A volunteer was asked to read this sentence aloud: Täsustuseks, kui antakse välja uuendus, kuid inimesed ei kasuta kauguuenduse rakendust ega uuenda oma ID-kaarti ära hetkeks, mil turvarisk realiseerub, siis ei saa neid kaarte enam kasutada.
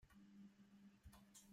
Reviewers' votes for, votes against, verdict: 0, 2, rejected